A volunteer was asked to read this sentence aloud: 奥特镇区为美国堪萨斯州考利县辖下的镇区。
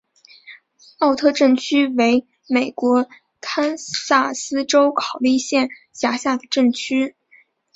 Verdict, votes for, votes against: accepted, 2, 0